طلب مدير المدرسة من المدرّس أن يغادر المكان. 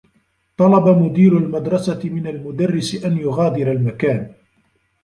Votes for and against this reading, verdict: 0, 2, rejected